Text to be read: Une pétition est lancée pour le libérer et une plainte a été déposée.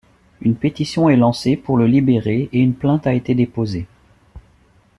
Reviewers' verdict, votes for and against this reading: accepted, 3, 0